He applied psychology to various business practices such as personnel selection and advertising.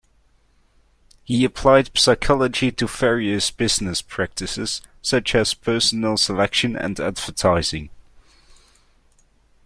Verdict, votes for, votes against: rejected, 1, 2